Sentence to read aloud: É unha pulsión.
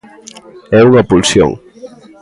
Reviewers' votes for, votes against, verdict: 2, 0, accepted